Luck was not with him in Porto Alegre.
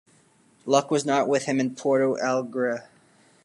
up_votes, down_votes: 2, 1